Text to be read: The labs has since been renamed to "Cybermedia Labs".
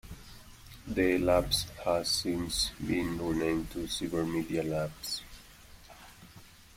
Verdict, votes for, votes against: accepted, 2, 1